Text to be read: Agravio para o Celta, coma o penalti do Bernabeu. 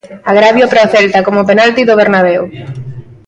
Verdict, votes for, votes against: accepted, 2, 0